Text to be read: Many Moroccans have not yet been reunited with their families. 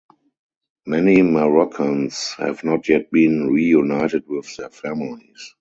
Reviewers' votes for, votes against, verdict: 4, 0, accepted